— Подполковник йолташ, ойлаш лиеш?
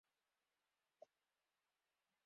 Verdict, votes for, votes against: rejected, 0, 4